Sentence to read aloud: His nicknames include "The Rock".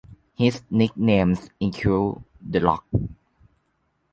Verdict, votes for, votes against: accepted, 2, 0